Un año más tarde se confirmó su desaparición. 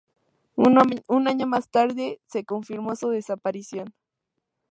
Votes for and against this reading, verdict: 0, 2, rejected